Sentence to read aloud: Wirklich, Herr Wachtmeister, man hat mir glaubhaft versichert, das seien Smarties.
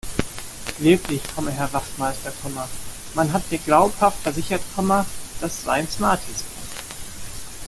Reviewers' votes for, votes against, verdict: 1, 2, rejected